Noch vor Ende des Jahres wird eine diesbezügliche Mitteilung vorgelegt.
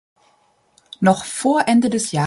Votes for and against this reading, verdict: 0, 2, rejected